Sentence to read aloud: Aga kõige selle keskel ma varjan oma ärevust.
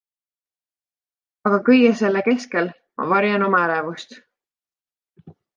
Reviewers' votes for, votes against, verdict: 2, 0, accepted